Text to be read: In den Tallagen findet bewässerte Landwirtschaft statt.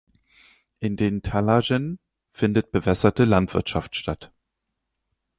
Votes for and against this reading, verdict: 2, 4, rejected